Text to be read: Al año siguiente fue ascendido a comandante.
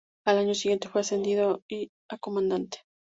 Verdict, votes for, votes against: rejected, 0, 2